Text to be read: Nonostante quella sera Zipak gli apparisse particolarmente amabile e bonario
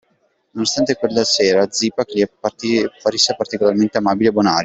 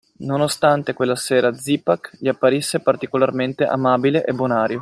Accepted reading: second